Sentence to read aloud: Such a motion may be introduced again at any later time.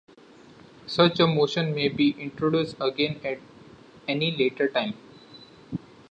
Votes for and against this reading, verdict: 2, 0, accepted